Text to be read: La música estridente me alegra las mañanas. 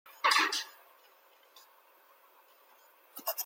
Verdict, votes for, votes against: rejected, 0, 2